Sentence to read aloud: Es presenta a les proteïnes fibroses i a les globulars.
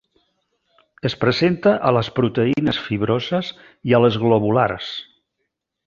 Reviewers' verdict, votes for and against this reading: accepted, 3, 0